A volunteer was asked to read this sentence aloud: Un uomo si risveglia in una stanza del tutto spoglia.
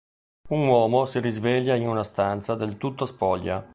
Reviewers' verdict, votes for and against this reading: accepted, 2, 0